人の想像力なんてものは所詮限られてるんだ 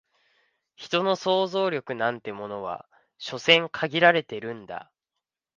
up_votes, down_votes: 2, 0